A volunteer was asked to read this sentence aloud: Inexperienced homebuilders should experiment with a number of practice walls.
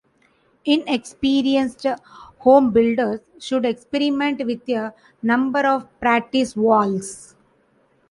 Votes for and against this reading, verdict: 2, 1, accepted